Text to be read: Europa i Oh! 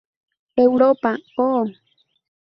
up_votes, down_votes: 2, 0